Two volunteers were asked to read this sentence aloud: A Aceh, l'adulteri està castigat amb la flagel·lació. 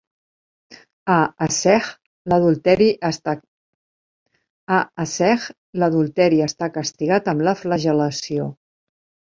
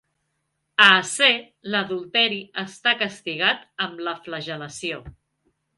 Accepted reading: second